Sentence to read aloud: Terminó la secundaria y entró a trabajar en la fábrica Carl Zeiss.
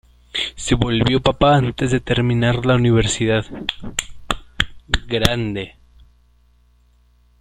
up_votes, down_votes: 0, 2